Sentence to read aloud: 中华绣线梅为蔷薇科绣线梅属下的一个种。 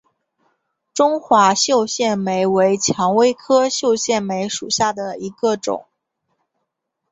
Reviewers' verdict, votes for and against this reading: accepted, 5, 1